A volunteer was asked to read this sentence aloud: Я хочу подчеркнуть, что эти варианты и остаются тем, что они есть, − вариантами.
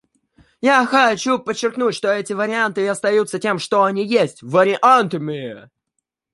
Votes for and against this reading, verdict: 1, 2, rejected